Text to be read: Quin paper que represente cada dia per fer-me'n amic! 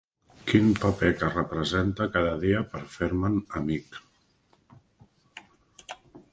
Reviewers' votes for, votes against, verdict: 2, 0, accepted